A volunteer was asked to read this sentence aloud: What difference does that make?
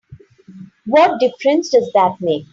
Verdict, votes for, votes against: accepted, 2, 0